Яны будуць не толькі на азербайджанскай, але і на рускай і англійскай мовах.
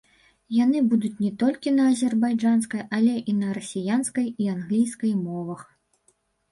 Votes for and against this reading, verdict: 1, 2, rejected